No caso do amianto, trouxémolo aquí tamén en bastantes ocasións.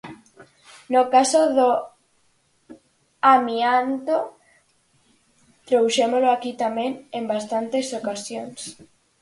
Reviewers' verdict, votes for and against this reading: rejected, 0, 4